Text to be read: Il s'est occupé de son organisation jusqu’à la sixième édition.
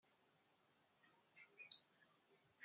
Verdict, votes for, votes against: rejected, 0, 2